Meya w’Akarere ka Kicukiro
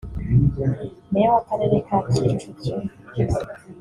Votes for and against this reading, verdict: 1, 2, rejected